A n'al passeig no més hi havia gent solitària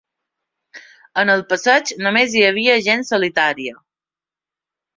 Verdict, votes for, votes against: accepted, 3, 0